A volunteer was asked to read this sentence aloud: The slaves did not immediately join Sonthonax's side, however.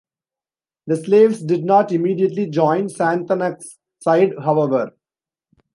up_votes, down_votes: 0, 2